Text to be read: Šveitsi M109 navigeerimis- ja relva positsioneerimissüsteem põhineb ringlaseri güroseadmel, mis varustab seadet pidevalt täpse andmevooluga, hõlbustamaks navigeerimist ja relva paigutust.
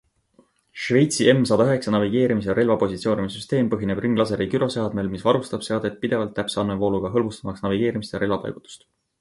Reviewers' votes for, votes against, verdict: 0, 2, rejected